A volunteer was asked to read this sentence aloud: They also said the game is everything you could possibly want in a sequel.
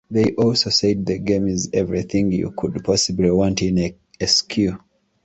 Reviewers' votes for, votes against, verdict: 0, 2, rejected